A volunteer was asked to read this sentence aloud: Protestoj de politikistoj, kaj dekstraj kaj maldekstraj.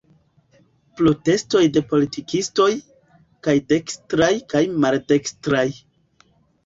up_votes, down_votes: 2, 1